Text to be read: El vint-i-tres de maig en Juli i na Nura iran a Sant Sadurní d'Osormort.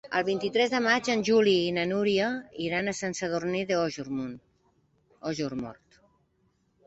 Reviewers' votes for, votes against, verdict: 0, 2, rejected